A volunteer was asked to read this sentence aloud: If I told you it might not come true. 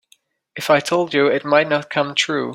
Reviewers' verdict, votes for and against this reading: accepted, 2, 0